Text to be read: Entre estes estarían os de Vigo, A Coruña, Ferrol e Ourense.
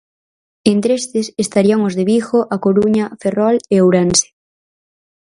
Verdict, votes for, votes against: accepted, 4, 0